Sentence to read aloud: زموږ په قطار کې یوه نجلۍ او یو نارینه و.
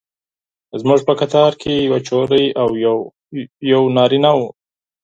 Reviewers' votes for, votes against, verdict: 0, 4, rejected